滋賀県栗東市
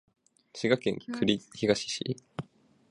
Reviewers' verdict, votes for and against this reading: rejected, 1, 2